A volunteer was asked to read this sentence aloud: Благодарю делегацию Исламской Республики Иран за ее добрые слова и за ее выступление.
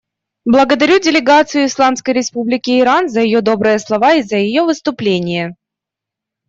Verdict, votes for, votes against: accepted, 2, 0